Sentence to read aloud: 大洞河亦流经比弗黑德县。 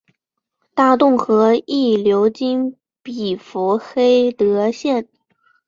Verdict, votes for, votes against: accepted, 5, 1